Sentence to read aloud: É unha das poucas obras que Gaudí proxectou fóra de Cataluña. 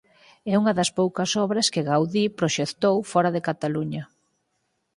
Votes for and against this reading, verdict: 4, 0, accepted